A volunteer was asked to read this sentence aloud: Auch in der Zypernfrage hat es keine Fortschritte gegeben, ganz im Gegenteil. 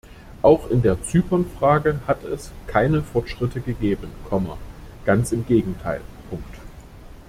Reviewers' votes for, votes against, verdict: 1, 2, rejected